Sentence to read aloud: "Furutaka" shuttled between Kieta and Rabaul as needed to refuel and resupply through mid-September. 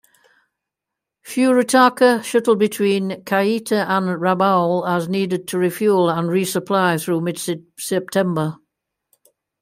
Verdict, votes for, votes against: rejected, 0, 2